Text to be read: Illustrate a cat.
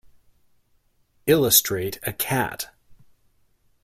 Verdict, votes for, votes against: accepted, 2, 0